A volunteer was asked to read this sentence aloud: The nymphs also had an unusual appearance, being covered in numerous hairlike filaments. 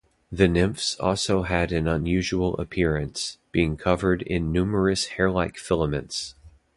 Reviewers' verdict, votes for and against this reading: rejected, 0, 2